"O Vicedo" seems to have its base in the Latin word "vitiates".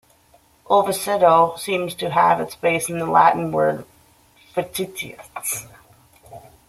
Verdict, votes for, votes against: rejected, 0, 2